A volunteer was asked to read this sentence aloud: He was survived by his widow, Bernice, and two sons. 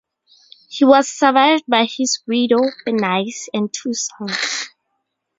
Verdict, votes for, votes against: rejected, 0, 2